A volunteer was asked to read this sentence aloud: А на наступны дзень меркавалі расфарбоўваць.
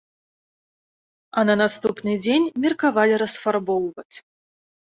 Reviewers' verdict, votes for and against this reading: accepted, 2, 0